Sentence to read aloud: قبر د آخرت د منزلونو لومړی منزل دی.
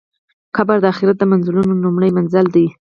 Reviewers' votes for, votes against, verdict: 0, 4, rejected